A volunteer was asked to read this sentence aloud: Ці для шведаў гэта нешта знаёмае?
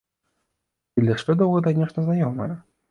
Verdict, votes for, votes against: rejected, 0, 2